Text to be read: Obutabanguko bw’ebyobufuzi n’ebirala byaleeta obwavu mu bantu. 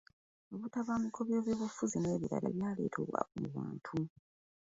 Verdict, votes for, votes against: rejected, 0, 2